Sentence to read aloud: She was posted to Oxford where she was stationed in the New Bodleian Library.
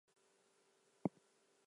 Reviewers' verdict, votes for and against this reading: rejected, 0, 4